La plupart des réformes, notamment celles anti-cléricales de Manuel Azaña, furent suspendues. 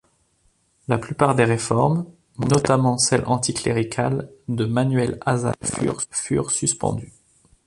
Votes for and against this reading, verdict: 0, 2, rejected